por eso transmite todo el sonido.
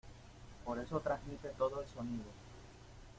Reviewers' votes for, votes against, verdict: 1, 2, rejected